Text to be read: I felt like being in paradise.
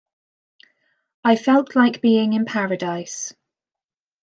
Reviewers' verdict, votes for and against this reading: accepted, 2, 0